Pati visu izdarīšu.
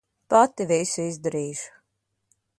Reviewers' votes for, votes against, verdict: 2, 0, accepted